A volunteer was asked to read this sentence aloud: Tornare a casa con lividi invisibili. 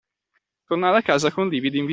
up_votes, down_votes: 0, 2